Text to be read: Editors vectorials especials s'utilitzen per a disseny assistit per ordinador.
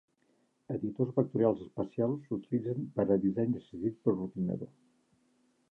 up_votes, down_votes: 0, 3